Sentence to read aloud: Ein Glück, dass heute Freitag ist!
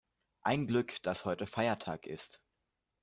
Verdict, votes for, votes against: rejected, 0, 2